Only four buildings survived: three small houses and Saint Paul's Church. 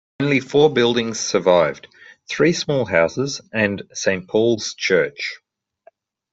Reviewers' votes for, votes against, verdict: 2, 0, accepted